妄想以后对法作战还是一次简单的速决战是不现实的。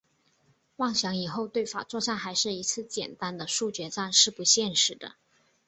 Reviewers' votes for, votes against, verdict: 2, 0, accepted